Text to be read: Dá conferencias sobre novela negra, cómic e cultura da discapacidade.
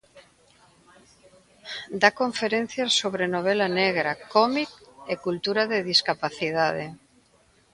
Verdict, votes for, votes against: rejected, 1, 2